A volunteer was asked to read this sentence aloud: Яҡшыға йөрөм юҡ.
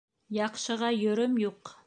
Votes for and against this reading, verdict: 0, 2, rejected